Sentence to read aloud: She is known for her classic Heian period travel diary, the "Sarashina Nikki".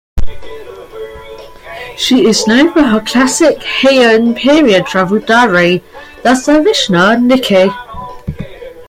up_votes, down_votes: 2, 1